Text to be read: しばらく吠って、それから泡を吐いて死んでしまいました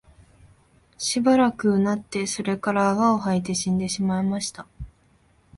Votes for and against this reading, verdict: 8, 0, accepted